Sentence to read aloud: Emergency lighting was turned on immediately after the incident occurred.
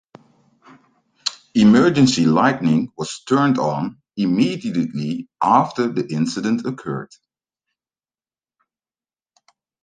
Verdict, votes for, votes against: rejected, 0, 2